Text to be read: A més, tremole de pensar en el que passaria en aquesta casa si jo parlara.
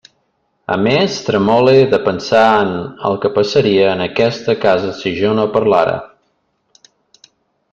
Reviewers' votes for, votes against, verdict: 0, 2, rejected